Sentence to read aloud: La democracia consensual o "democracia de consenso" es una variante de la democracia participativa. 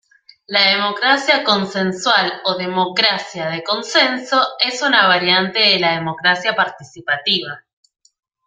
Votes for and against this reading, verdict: 2, 1, accepted